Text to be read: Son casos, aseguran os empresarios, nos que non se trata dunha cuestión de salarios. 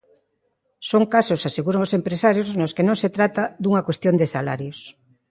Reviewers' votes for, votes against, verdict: 2, 0, accepted